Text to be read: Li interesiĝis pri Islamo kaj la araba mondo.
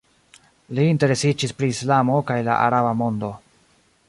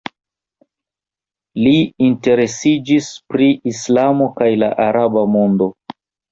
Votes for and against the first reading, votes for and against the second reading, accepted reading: 2, 0, 1, 2, first